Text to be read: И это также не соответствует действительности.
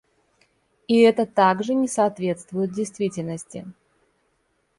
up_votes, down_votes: 2, 0